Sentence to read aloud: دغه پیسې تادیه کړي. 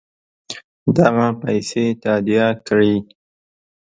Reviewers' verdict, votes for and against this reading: accepted, 2, 0